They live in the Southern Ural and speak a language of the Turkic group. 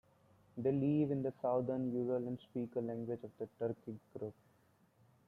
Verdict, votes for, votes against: rejected, 1, 2